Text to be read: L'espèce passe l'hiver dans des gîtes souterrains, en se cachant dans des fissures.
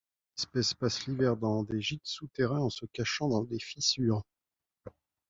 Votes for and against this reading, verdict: 0, 2, rejected